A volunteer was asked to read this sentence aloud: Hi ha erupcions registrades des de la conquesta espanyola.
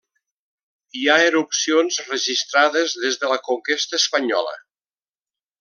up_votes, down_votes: 3, 0